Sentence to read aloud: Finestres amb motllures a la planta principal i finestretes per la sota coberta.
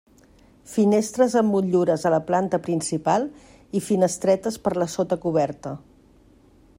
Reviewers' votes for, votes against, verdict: 2, 0, accepted